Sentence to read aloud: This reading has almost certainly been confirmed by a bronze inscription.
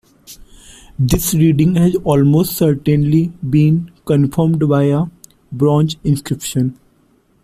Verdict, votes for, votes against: accepted, 2, 0